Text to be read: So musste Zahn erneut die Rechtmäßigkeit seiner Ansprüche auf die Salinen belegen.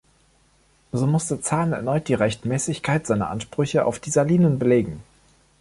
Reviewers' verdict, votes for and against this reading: accepted, 2, 0